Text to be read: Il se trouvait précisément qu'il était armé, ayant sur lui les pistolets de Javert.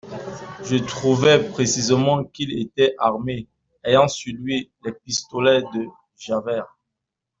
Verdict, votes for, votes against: rejected, 1, 2